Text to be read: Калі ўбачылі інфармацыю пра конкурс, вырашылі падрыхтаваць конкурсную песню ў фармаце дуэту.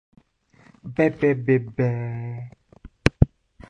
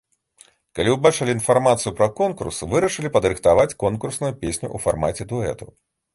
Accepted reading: second